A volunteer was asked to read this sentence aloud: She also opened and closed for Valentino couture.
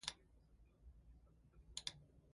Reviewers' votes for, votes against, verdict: 0, 4, rejected